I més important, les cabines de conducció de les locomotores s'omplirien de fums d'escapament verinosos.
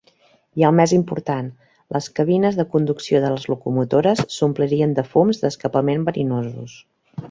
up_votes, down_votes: 1, 2